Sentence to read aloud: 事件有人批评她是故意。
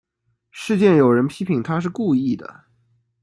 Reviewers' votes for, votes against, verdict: 0, 2, rejected